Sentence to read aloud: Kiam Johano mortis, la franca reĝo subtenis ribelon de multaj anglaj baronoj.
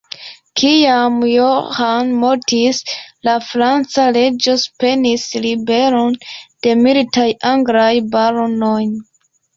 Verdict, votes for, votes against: rejected, 1, 2